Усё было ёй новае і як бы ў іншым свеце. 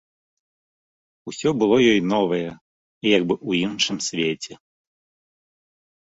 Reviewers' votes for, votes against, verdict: 3, 0, accepted